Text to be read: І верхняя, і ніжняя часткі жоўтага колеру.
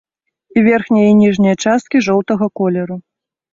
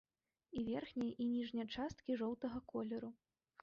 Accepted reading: first